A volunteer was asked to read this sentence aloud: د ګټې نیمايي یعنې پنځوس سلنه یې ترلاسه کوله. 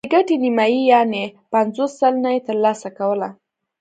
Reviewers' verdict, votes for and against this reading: accepted, 2, 0